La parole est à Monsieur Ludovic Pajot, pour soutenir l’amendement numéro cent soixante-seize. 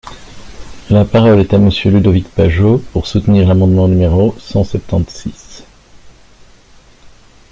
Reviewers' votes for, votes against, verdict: 1, 2, rejected